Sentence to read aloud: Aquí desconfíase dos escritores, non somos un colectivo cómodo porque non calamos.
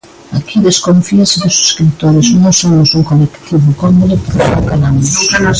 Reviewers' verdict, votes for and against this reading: rejected, 0, 2